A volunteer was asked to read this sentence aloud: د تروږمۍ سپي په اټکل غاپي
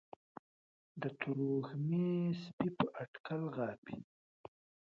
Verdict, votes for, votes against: rejected, 0, 2